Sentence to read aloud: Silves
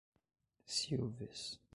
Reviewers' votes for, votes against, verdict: 1, 2, rejected